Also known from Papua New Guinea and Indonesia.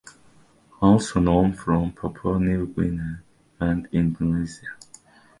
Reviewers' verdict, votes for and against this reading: rejected, 1, 2